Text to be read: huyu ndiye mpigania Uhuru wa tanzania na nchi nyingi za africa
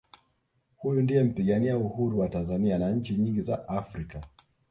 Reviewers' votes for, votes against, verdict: 1, 2, rejected